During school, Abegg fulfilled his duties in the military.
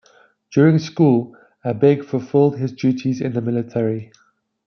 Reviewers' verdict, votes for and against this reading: accepted, 2, 0